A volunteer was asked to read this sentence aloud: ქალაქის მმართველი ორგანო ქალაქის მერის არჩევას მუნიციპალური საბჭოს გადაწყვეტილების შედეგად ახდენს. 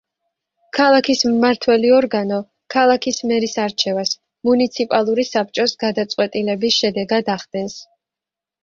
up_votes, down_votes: 3, 0